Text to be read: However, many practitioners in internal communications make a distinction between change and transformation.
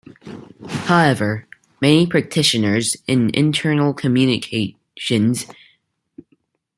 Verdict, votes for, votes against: rejected, 0, 2